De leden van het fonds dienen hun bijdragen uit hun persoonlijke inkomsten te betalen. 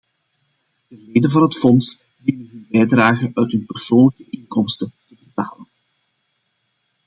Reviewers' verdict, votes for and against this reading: rejected, 0, 2